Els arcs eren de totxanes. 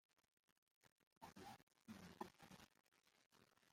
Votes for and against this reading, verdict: 0, 2, rejected